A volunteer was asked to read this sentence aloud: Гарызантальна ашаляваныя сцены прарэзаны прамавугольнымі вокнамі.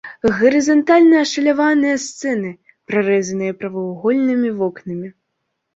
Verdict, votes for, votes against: rejected, 1, 2